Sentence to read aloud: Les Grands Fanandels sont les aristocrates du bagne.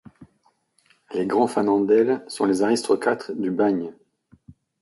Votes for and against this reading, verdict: 1, 2, rejected